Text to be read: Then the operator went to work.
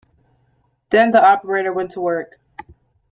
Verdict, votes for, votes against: accepted, 2, 1